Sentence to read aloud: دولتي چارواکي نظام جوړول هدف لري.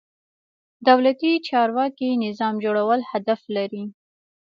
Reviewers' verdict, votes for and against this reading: accepted, 2, 0